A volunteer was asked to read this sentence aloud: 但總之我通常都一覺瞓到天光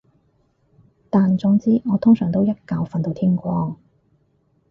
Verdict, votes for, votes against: accepted, 4, 0